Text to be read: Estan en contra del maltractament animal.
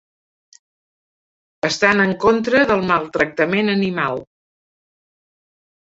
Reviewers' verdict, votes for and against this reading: accepted, 2, 0